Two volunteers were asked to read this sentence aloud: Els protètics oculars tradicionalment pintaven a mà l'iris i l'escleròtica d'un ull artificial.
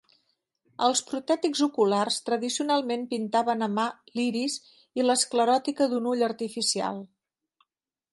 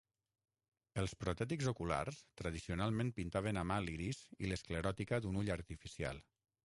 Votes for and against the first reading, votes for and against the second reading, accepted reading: 3, 0, 3, 6, first